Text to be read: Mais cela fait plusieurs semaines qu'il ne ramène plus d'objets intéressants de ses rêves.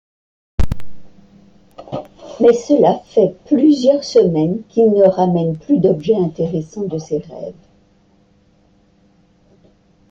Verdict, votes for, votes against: accepted, 2, 0